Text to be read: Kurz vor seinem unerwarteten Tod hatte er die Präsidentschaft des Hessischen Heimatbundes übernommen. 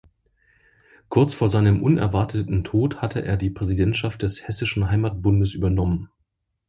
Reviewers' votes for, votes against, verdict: 2, 0, accepted